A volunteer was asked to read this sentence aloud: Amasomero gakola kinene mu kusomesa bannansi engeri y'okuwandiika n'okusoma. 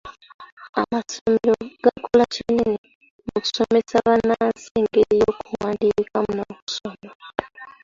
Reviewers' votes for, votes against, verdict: 0, 2, rejected